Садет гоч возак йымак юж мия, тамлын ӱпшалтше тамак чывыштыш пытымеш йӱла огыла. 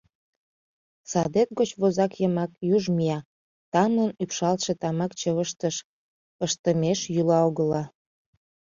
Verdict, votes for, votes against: rejected, 0, 2